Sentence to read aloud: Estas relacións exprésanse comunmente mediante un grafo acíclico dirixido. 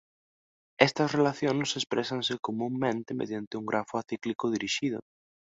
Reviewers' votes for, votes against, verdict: 2, 0, accepted